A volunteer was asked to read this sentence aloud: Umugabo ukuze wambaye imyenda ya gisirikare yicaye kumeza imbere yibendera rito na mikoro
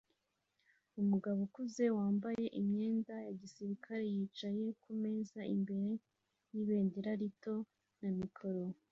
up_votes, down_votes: 2, 0